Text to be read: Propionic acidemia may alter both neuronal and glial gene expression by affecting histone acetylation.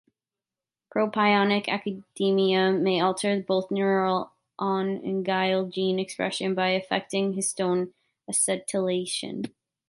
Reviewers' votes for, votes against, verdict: 1, 2, rejected